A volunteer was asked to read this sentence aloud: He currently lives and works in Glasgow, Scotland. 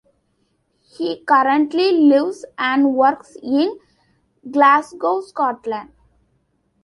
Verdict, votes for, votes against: accepted, 2, 1